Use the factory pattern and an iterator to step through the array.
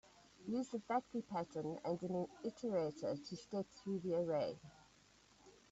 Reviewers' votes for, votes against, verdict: 0, 2, rejected